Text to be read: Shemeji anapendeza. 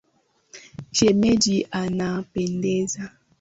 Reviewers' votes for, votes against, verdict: 7, 0, accepted